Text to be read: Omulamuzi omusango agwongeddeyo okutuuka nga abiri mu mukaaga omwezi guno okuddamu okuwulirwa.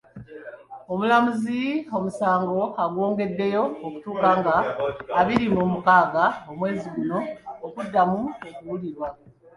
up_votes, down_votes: 2, 1